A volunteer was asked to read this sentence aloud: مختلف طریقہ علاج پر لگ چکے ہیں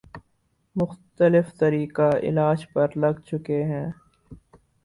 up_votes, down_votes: 2, 4